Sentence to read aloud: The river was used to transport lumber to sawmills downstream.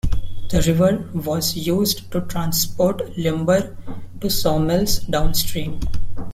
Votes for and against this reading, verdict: 2, 0, accepted